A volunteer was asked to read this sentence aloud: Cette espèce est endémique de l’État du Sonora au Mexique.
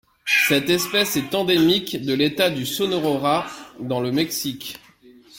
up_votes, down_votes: 0, 2